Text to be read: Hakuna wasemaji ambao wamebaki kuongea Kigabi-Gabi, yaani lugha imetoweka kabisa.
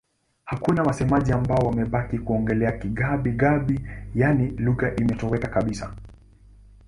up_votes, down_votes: 1, 2